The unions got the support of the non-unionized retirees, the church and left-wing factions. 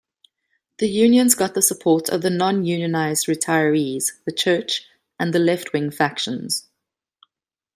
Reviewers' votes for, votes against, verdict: 1, 2, rejected